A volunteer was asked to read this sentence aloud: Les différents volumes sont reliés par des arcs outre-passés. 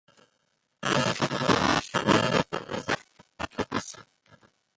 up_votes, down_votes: 0, 2